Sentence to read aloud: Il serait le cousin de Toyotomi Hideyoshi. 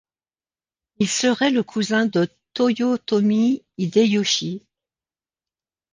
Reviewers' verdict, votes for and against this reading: accepted, 2, 0